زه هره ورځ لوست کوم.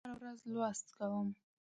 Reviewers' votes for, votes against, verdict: 0, 2, rejected